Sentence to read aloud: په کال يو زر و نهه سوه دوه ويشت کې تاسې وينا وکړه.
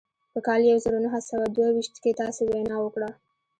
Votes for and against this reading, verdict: 0, 2, rejected